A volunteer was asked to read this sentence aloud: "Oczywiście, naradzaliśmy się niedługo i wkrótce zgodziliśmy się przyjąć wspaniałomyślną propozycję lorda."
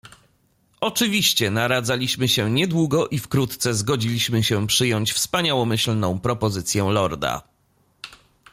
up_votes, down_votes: 2, 0